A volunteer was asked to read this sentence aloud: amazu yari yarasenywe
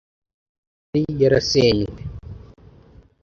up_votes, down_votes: 0, 2